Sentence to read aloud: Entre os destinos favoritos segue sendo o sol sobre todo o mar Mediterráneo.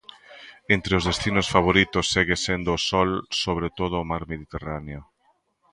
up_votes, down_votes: 2, 0